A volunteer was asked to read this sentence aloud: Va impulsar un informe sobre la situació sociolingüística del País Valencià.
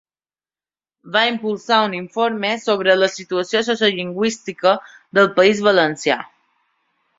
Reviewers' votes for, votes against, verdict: 0, 2, rejected